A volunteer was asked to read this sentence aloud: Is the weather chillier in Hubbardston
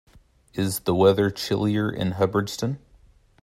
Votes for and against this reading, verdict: 2, 0, accepted